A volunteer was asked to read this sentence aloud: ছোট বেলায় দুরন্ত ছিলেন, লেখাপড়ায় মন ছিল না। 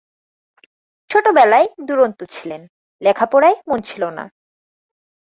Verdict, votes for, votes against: accepted, 2, 0